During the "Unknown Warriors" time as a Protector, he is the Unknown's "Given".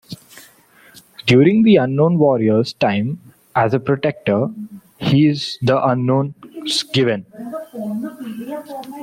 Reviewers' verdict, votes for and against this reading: rejected, 1, 2